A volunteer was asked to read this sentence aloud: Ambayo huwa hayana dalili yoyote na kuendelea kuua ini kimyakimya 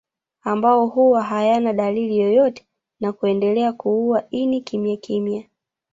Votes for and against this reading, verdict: 0, 2, rejected